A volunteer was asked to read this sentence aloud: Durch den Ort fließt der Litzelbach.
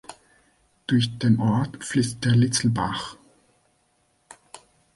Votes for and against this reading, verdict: 2, 0, accepted